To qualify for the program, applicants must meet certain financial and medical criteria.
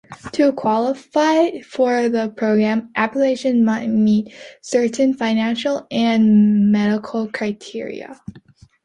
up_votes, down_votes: 0, 2